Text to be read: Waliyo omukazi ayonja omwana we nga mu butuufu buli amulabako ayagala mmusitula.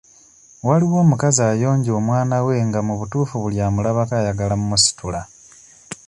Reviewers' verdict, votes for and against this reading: rejected, 0, 2